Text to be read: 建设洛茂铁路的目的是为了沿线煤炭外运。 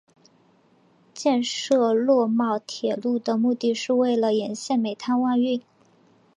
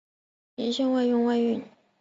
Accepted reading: first